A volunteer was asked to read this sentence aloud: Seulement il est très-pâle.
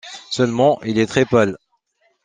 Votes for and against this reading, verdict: 2, 1, accepted